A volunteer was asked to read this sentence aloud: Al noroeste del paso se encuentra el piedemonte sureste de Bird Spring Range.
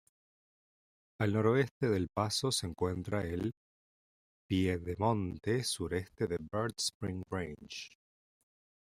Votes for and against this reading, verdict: 2, 0, accepted